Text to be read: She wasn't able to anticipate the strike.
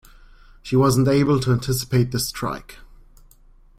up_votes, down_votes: 2, 0